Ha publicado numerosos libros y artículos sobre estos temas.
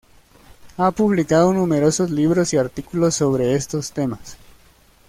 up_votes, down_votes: 2, 0